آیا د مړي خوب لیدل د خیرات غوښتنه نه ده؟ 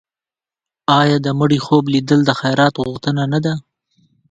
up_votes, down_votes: 2, 0